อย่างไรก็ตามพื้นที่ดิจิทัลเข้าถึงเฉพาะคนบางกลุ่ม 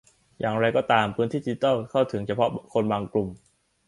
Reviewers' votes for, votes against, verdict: 1, 2, rejected